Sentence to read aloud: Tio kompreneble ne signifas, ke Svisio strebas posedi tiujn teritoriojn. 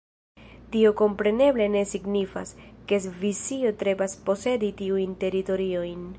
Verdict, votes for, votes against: rejected, 1, 2